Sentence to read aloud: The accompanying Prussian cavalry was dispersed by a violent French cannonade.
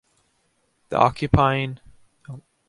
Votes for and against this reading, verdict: 0, 2, rejected